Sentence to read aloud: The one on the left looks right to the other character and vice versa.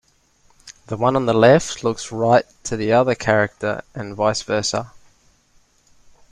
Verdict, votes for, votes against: accepted, 2, 0